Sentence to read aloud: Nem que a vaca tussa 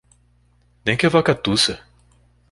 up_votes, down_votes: 2, 0